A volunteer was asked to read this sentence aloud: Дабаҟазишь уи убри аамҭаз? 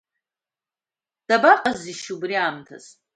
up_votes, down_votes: 2, 0